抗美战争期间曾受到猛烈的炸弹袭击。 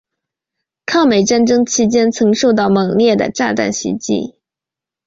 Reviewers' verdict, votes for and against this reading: accepted, 3, 0